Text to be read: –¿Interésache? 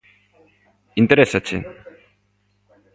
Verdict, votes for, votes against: accepted, 2, 0